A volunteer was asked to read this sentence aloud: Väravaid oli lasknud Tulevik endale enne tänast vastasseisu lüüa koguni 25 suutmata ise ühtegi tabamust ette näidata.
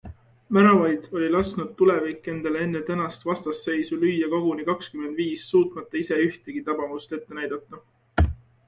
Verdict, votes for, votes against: rejected, 0, 2